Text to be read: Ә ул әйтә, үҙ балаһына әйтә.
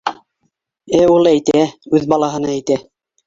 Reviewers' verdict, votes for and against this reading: rejected, 1, 2